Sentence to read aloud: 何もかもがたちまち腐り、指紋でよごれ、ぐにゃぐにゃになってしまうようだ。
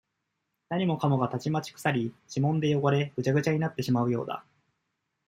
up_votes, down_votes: 1, 2